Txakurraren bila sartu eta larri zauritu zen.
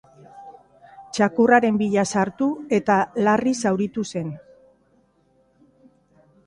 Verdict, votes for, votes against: accepted, 2, 0